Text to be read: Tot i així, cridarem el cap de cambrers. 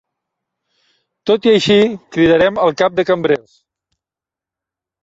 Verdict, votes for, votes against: accepted, 2, 0